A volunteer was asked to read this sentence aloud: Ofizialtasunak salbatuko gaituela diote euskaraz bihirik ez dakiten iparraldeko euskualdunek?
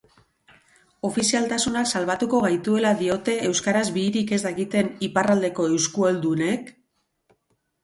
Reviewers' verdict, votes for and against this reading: rejected, 2, 4